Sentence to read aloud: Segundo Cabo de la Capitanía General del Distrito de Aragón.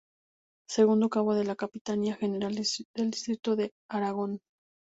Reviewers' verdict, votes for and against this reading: rejected, 0, 2